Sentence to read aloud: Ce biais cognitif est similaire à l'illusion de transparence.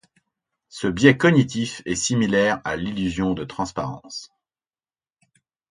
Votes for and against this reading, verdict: 2, 0, accepted